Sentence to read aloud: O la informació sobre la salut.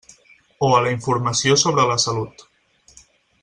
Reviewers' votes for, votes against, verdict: 4, 2, accepted